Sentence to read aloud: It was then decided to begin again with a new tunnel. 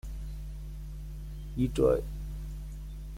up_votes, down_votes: 0, 2